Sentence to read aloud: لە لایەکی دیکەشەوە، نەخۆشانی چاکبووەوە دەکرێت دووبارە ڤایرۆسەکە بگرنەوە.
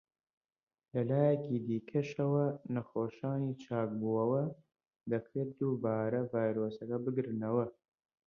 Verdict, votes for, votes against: rejected, 0, 2